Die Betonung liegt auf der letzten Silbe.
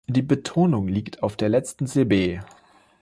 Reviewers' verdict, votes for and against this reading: rejected, 0, 3